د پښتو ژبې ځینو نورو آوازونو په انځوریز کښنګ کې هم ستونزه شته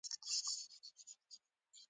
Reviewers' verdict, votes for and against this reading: rejected, 0, 2